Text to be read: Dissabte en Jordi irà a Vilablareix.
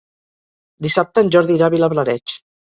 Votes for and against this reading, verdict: 2, 0, accepted